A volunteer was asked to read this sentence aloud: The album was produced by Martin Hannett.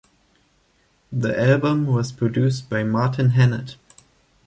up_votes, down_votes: 2, 0